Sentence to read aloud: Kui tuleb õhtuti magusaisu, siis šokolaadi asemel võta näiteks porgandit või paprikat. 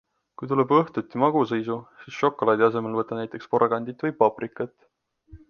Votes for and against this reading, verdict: 2, 0, accepted